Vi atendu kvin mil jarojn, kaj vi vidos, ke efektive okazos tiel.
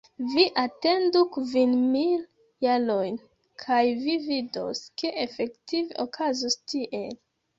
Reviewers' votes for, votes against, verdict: 0, 2, rejected